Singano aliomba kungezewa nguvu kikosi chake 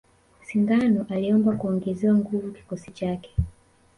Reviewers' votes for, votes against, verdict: 2, 0, accepted